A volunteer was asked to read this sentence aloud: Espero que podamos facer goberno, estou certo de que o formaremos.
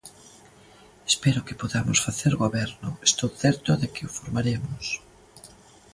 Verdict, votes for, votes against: accepted, 2, 0